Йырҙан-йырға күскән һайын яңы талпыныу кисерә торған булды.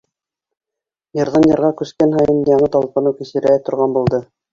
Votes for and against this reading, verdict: 1, 2, rejected